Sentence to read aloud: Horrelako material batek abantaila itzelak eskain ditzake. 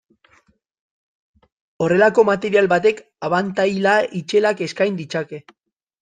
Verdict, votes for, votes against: rejected, 2, 2